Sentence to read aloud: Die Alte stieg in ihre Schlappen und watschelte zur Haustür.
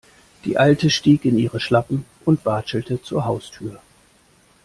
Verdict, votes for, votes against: accepted, 2, 0